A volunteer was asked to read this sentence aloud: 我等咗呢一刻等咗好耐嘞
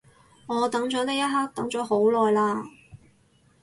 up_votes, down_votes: 2, 2